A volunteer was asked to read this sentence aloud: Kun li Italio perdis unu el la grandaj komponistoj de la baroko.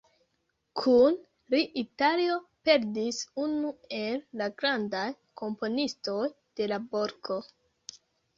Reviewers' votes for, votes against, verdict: 0, 2, rejected